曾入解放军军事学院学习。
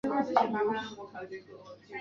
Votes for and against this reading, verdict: 0, 2, rejected